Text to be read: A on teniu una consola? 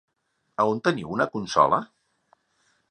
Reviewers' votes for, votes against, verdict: 3, 0, accepted